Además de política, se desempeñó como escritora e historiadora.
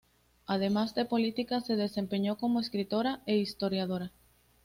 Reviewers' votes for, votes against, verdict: 2, 0, accepted